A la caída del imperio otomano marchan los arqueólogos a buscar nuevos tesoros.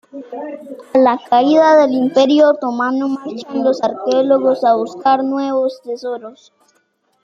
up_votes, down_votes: 0, 2